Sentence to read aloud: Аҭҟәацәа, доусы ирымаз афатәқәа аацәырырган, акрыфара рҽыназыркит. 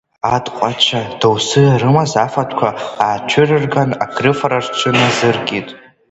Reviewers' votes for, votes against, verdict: 1, 2, rejected